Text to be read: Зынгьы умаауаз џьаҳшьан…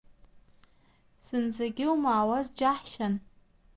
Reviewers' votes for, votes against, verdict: 1, 2, rejected